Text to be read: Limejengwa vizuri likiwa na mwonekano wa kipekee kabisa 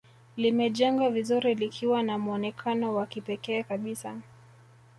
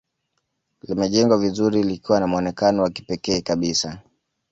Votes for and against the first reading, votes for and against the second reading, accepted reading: 0, 2, 2, 0, second